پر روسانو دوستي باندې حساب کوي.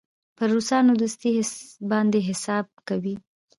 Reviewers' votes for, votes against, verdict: 2, 0, accepted